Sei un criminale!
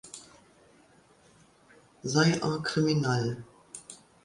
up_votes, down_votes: 1, 2